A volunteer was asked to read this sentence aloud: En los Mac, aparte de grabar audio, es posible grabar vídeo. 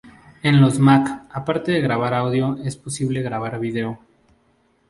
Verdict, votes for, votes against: rejected, 0, 2